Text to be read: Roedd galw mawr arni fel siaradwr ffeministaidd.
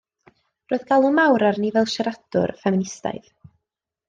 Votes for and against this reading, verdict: 2, 0, accepted